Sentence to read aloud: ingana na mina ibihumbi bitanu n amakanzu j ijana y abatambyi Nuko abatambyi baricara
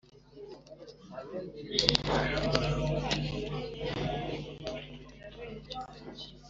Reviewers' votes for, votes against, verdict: 1, 2, rejected